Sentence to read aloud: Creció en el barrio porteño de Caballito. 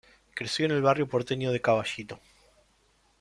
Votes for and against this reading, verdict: 2, 1, accepted